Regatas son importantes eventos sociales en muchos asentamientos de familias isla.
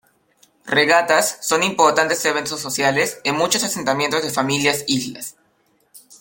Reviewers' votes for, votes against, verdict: 1, 2, rejected